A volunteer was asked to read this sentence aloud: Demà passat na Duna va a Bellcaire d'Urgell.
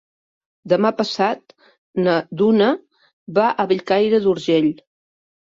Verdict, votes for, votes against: accepted, 3, 0